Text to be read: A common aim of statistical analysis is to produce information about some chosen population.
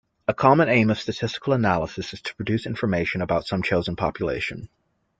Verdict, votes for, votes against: accepted, 2, 0